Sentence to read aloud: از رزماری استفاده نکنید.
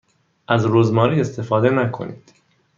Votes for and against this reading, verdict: 2, 0, accepted